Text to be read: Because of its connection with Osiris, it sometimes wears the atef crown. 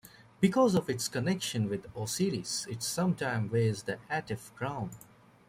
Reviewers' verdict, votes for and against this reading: accepted, 2, 1